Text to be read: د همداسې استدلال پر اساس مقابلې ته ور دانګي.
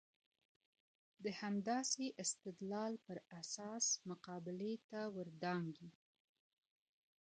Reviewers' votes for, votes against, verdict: 0, 2, rejected